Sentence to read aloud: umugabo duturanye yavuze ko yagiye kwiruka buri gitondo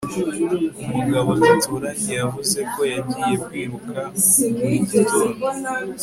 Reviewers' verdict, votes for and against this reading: accepted, 2, 0